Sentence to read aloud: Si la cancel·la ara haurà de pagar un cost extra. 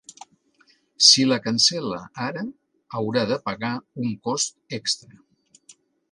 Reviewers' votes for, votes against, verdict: 2, 0, accepted